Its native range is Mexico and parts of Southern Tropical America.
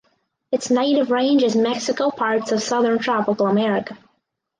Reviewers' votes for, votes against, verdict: 0, 4, rejected